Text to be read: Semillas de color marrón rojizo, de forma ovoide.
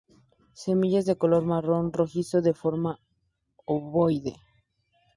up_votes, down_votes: 4, 0